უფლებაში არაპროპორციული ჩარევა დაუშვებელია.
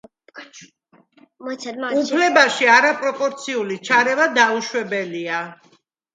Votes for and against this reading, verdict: 0, 2, rejected